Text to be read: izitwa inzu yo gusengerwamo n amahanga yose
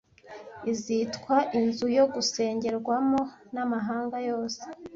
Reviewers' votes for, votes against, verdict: 2, 0, accepted